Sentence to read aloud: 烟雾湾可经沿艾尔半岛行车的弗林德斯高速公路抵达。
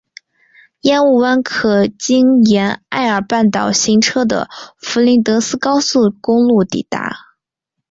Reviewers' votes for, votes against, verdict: 5, 0, accepted